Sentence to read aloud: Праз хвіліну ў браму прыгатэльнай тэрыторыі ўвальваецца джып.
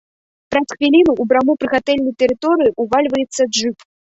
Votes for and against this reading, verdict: 1, 2, rejected